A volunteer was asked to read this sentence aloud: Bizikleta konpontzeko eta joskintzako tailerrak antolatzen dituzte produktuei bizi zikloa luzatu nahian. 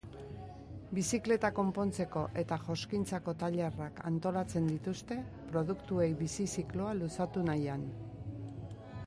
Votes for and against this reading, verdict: 2, 0, accepted